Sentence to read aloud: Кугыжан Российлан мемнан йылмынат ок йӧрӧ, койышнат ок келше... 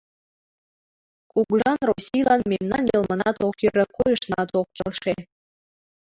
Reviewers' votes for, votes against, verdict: 0, 2, rejected